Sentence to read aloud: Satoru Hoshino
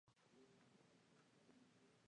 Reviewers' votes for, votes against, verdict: 4, 6, rejected